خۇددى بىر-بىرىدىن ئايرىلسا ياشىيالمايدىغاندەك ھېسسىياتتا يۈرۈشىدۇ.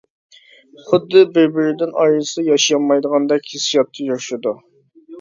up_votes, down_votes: 0, 2